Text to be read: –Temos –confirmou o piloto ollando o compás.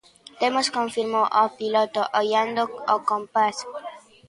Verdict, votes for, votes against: rejected, 0, 2